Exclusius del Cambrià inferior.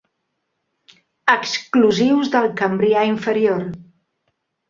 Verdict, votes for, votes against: accepted, 2, 0